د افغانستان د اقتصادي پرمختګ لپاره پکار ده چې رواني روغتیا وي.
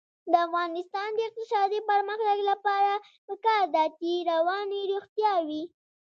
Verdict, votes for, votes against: rejected, 0, 2